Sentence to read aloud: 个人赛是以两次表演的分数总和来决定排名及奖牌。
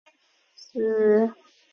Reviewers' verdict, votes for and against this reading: rejected, 0, 2